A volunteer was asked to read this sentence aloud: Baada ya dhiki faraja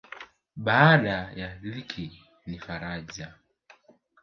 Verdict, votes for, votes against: rejected, 1, 2